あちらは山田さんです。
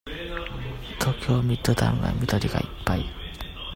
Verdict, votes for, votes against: rejected, 0, 2